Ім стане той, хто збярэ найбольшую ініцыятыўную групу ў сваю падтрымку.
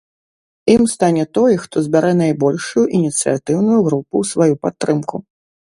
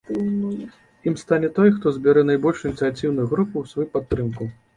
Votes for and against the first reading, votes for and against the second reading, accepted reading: 2, 0, 1, 2, first